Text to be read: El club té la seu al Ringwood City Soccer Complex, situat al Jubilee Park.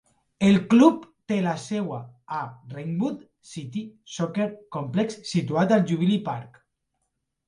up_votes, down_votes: 1, 2